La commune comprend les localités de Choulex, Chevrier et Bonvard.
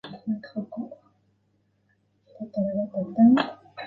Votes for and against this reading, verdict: 0, 2, rejected